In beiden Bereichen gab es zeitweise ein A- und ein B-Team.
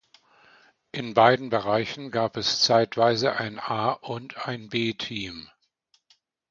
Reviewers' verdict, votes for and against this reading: accepted, 2, 0